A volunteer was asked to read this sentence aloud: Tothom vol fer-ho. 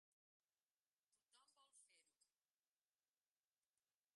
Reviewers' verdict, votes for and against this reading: rejected, 0, 2